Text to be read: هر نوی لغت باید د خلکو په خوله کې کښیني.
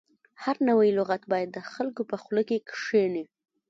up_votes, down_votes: 0, 2